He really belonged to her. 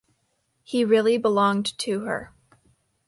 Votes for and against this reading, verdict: 2, 0, accepted